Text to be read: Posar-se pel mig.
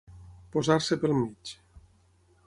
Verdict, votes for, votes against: accepted, 6, 0